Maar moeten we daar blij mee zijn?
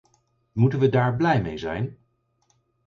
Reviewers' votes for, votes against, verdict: 0, 4, rejected